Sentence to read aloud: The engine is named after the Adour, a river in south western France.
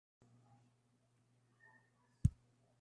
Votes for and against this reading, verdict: 0, 2, rejected